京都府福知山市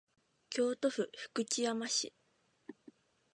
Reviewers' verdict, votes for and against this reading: accepted, 2, 0